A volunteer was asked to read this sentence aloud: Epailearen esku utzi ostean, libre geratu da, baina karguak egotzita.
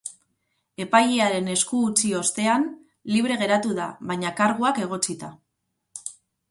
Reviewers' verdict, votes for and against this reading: accepted, 4, 0